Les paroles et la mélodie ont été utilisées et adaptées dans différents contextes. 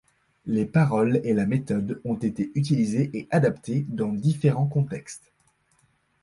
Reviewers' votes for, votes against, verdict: 1, 2, rejected